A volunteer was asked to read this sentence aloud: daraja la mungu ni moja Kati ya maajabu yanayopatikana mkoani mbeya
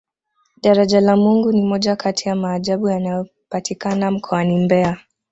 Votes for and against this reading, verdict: 2, 0, accepted